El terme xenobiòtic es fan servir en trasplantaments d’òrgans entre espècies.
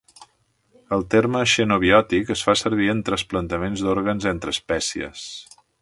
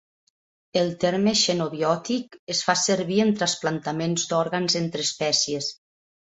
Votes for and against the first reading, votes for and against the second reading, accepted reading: 3, 1, 0, 2, first